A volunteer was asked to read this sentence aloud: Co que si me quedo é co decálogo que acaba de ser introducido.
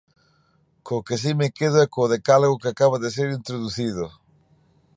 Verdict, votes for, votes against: accepted, 2, 0